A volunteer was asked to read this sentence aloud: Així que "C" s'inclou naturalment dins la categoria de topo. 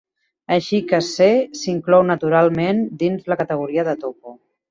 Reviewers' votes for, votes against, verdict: 2, 0, accepted